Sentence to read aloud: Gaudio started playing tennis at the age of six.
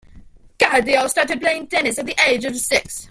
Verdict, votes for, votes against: rejected, 0, 2